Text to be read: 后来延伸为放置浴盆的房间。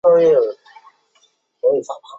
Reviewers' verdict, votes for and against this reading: rejected, 0, 5